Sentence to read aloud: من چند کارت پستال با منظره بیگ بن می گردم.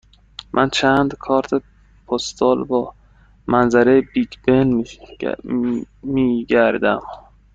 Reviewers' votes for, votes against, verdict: 1, 2, rejected